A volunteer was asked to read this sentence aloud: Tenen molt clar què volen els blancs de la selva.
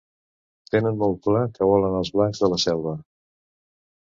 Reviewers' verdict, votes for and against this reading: accepted, 2, 0